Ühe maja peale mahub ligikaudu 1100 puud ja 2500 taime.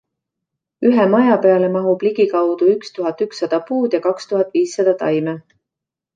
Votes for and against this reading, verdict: 0, 2, rejected